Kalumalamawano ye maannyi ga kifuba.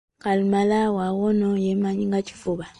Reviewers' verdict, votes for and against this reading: rejected, 1, 2